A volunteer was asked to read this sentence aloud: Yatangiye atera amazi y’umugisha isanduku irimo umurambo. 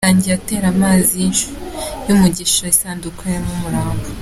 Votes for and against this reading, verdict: 2, 1, accepted